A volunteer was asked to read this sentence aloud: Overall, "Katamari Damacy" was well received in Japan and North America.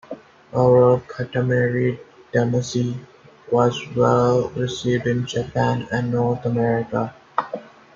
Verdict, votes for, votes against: accepted, 2, 0